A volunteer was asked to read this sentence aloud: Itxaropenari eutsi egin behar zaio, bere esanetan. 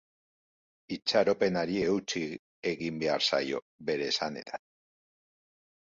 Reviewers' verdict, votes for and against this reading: rejected, 1, 2